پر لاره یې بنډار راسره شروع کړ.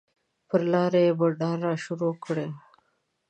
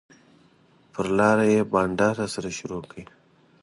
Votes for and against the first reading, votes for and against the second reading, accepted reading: 1, 2, 2, 0, second